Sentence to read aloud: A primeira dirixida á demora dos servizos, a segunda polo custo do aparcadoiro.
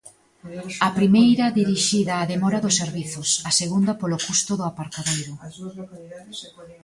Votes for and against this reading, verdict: 2, 0, accepted